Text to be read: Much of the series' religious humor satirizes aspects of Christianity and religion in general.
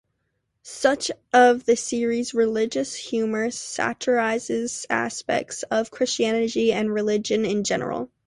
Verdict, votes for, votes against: rejected, 0, 3